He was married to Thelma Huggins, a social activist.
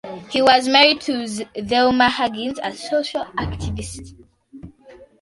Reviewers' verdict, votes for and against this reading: accepted, 2, 1